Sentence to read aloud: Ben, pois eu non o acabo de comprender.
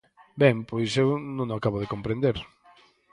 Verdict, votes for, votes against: accepted, 4, 0